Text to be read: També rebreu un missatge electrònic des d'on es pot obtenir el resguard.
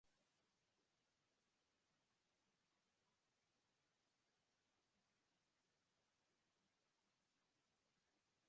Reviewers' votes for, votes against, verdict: 2, 1, accepted